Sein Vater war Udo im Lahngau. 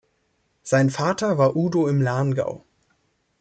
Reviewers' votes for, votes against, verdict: 3, 0, accepted